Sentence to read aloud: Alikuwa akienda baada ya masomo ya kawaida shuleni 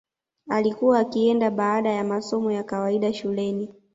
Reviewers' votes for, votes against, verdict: 2, 0, accepted